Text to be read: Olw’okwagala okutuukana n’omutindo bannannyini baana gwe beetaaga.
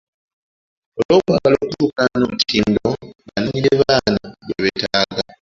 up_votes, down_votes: 0, 2